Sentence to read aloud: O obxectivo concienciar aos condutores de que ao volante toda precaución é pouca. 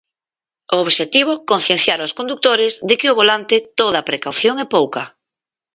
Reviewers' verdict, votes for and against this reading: rejected, 2, 4